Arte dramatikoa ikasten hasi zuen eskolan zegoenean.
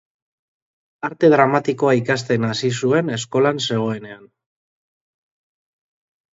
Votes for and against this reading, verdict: 2, 0, accepted